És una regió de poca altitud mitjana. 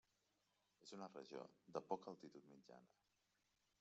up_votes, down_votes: 0, 2